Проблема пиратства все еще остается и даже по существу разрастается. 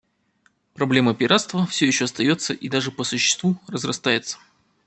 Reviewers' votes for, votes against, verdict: 2, 0, accepted